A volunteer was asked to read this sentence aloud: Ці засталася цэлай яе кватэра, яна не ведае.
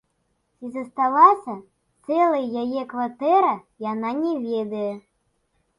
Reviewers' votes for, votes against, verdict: 2, 0, accepted